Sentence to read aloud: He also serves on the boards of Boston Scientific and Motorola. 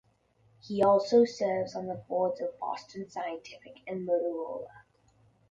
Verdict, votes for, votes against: accepted, 2, 0